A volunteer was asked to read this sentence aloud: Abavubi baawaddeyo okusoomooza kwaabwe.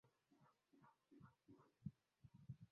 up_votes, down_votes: 0, 2